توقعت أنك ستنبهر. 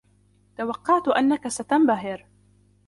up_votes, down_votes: 2, 0